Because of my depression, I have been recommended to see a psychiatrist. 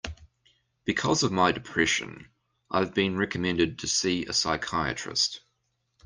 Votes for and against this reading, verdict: 1, 2, rejected